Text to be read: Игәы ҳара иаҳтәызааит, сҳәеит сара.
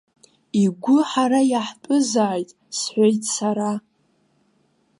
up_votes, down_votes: 2, 0